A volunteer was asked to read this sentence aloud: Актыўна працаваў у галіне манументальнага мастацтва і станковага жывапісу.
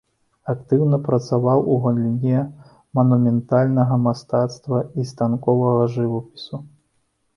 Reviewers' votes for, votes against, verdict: 2, 0, accepted